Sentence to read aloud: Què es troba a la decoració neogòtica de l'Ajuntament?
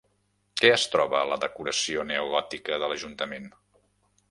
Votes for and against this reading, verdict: 3, 0, accepted